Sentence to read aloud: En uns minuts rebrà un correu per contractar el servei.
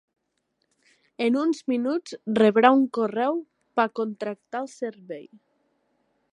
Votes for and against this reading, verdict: 3, 1, accepted